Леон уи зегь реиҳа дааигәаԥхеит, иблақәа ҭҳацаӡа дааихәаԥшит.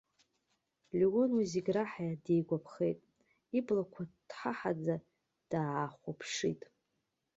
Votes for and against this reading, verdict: 0, 2, rejected